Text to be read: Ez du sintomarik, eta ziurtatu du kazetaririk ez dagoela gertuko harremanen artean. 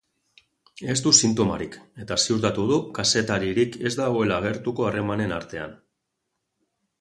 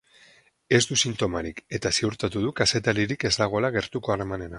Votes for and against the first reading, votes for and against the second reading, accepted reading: 2, 0, 2, 4, first